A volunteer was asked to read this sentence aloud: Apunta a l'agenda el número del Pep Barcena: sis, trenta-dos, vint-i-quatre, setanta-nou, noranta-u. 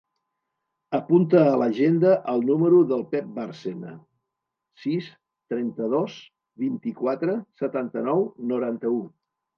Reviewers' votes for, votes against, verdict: 2, 0, accepted